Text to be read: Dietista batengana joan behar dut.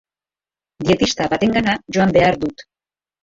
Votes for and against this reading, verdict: 2, 0, accepted